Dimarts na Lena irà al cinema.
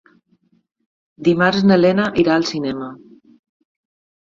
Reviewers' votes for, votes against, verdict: 3, 0, accepted